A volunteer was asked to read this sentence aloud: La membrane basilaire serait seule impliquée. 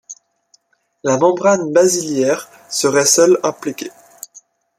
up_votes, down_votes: 1, 2